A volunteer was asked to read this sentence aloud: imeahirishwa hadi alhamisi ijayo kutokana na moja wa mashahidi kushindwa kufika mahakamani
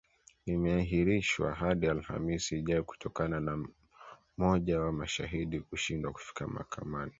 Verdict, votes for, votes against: accepted, 2, 0